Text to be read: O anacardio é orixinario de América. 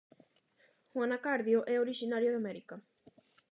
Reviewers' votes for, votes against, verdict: 8, 0, accepted